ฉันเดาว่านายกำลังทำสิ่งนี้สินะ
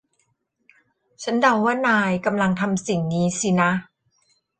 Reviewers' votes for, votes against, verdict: 2, 0, accepted